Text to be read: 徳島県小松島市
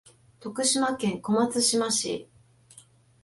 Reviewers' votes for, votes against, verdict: 2, 0, accepted